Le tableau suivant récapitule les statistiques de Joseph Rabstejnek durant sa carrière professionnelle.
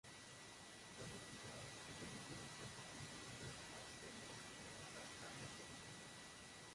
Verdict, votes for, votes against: rejected, 0, 2